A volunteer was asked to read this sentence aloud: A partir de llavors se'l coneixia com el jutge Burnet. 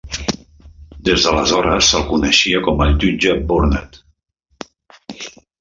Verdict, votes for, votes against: rejected, 0, 2